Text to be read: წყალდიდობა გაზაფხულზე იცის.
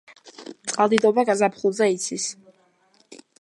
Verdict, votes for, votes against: accepted, 2, 0